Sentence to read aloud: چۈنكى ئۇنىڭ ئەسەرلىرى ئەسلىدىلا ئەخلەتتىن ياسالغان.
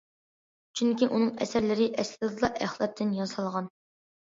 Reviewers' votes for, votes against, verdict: 2, 1, accepted